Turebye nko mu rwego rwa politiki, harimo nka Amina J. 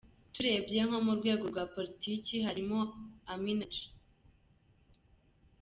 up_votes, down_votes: 1, 2